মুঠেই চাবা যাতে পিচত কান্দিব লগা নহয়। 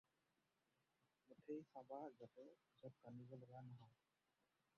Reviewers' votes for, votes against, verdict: 0, 4, rejected